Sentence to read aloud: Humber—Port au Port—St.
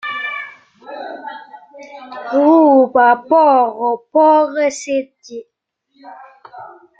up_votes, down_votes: 0, 2